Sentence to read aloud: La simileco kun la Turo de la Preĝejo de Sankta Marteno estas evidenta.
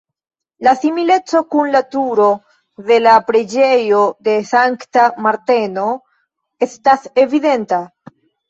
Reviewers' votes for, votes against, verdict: 2, 0, accepted